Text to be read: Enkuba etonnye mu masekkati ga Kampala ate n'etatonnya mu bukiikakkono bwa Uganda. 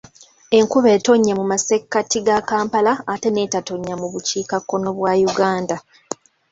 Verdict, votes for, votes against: accepted, 2, 0